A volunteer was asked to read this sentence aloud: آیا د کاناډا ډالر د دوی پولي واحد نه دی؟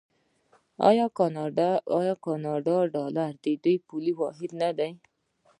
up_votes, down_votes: 1, 2